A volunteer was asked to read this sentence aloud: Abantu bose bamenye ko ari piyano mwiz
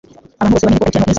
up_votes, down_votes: 0, 2